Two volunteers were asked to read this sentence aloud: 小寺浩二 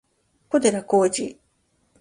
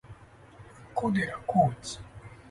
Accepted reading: first